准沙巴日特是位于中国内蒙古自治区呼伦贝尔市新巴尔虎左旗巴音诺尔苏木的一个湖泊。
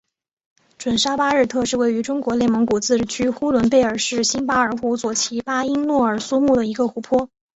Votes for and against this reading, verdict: 2, 0, accepted